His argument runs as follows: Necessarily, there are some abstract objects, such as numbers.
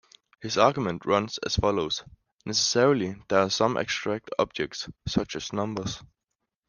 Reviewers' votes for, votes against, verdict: 2, 1, accepted